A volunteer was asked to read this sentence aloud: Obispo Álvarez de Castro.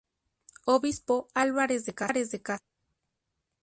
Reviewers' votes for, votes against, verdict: 2, 6, rejected